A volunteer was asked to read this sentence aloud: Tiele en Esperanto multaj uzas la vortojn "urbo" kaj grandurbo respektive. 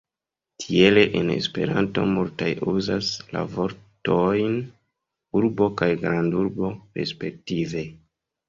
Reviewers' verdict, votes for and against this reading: rejected, 1, 2